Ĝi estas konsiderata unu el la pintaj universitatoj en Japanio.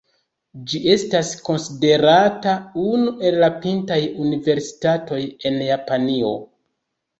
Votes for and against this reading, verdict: 1, 3, rejected